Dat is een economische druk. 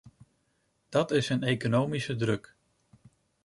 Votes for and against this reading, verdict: 2, 0, accepted